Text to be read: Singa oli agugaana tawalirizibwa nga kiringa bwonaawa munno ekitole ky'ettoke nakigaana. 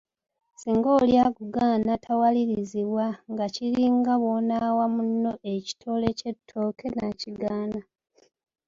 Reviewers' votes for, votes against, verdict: 3, 1, accepted